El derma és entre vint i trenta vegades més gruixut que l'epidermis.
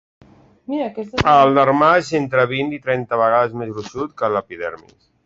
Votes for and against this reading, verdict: 1, 2, rejected